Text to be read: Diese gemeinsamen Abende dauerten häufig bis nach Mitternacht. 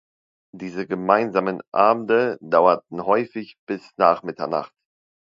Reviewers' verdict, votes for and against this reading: accepted, 2, 0